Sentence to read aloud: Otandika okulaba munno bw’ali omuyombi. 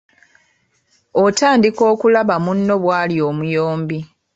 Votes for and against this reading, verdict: 2, 0, accepted